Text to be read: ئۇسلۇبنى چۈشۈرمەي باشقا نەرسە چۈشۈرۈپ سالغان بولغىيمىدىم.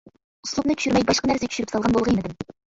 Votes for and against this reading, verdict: 1, 2, rejected